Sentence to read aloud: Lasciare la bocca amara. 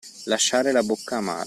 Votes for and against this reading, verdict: 1, 2, rejected